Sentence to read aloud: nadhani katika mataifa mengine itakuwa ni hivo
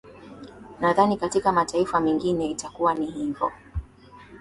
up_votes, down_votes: 2, 0